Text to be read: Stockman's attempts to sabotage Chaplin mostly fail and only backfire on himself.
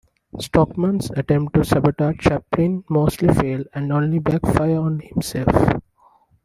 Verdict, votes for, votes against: rejected, 0, 2